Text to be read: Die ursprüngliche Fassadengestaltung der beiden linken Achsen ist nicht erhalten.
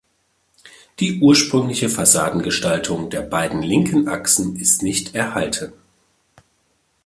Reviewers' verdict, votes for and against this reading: accepted, 2, 1